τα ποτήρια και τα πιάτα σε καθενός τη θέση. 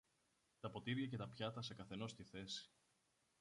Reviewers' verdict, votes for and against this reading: rejected, 0, 2